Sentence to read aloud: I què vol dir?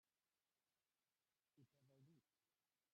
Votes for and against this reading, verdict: 0, 2, rejected